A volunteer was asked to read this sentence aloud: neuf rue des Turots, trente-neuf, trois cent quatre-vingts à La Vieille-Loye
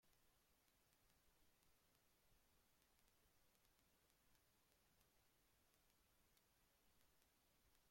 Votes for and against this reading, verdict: 0, 2, rejected